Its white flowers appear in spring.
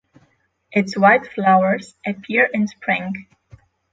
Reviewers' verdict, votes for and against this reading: accepted, 6, 0